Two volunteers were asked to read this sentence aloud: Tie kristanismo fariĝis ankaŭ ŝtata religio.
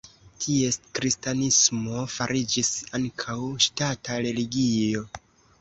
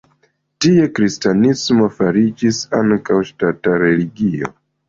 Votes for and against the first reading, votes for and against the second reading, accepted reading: 1, 2, 2, 0, second